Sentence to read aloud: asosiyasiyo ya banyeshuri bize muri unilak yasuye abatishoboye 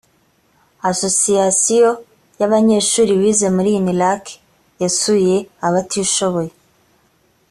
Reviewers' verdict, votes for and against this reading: accepted, 3, 0